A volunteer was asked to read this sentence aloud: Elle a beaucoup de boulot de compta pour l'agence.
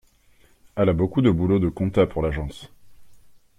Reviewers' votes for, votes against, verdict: 2, 0, accepted